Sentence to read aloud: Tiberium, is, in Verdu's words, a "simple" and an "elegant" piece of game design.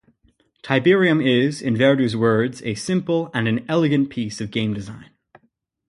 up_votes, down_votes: 2, 0